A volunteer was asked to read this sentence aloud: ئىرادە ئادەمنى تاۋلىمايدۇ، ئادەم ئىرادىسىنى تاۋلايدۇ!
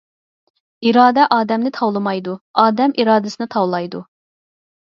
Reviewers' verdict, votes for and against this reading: accepted, 4, 0